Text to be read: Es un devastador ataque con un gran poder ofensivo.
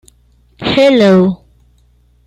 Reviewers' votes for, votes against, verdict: 0, 2, rejected